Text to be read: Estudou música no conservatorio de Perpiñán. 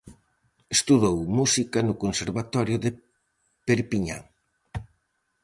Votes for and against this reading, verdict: 4, 0, accepted